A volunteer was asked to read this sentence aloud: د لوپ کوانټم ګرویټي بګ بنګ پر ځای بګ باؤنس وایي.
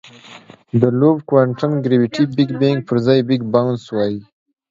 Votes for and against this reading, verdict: 2, 1, accepted